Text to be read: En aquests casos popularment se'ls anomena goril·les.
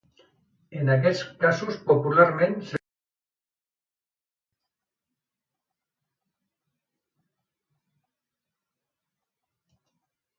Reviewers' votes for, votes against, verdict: 1, 2, rejected